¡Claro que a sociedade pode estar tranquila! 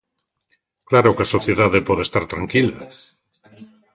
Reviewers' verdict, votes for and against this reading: accepted, 3, 0